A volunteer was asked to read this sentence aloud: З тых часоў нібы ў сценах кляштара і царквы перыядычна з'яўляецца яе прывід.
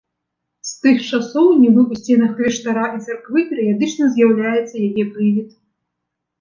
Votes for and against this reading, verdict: 2, 0, accepted